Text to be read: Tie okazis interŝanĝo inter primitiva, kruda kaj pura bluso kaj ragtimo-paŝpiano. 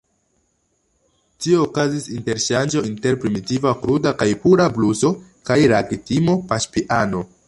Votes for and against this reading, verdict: 0, 2, rejected